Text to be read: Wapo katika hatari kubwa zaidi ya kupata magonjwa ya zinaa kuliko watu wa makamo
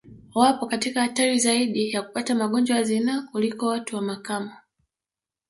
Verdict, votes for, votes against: rejected, 0, 2